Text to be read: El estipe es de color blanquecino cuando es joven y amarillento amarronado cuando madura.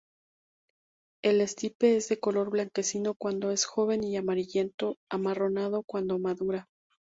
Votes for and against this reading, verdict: 2, 0, accepted